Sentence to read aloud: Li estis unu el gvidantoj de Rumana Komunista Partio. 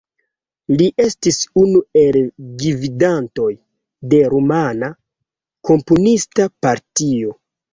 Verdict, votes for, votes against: rejected, 0, 2